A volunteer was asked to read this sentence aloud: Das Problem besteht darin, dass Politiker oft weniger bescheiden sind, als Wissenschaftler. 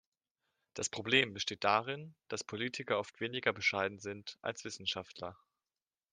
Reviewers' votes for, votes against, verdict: 2, 0, accepted